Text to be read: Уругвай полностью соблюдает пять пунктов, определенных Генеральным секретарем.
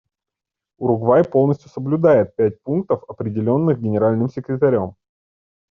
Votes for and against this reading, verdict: 2, 0, accepted